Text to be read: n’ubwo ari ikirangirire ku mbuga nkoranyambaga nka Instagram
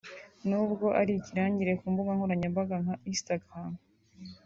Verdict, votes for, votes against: accepted, 2, 0